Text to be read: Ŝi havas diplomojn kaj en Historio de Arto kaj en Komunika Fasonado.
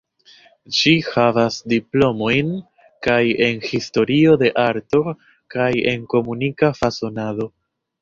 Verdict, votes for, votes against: accepted, 2, 0